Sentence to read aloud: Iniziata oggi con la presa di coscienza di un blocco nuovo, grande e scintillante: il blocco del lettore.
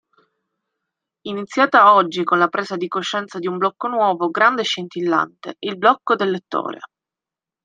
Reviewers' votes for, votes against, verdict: 2, 0, accepted